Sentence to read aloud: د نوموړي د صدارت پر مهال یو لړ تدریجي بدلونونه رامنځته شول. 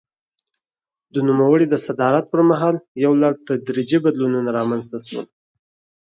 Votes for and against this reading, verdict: 4, 0, accepted